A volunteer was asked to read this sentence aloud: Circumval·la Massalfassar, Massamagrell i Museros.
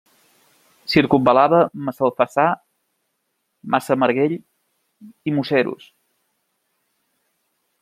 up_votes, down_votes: 0, 2